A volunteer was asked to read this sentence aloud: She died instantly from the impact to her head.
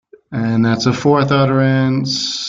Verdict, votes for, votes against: rejected, 0, 2